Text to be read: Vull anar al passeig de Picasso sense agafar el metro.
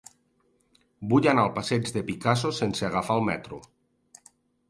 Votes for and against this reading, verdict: 2, 0, accepted